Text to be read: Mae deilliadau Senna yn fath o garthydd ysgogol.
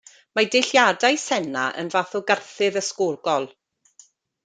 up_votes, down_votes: 0, 2